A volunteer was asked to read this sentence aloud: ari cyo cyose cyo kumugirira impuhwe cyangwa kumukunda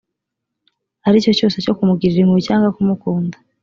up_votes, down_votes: 1, 2